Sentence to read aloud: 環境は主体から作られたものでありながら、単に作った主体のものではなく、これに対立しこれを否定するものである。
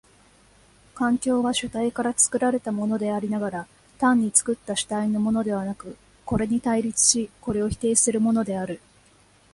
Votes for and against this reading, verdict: 2, 0, accepted